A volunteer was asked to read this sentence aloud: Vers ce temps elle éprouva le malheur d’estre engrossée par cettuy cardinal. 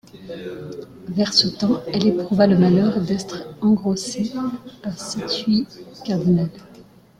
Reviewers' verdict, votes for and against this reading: rejected, 1, 2